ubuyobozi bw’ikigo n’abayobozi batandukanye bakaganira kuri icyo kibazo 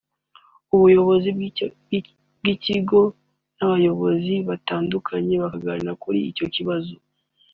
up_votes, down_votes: 1, 2